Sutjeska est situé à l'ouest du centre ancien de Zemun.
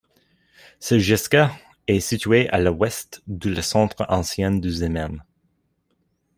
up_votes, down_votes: 0, 2